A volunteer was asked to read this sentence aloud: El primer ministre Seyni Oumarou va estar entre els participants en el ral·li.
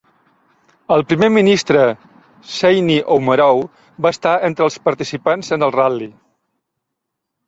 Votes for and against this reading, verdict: 2, 1, accepted